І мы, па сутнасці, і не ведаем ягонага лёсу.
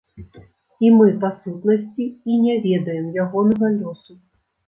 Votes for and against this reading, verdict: 2, 0, accepted